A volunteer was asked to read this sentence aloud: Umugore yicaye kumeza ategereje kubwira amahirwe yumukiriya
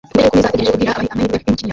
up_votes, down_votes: 0, 2